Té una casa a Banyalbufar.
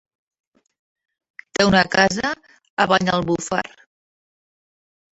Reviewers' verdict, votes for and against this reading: rejected, 1, 4